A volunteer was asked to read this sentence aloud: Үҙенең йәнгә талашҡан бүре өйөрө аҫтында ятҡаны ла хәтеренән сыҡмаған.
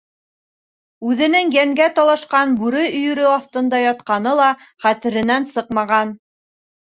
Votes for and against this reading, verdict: 2, 0, accepted